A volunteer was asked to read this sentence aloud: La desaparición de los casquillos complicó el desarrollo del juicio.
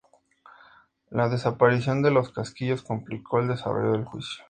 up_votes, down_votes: 2, 0